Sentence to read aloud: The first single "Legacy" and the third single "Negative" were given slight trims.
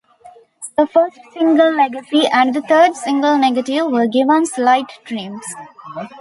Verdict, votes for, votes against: rejected, 0, 2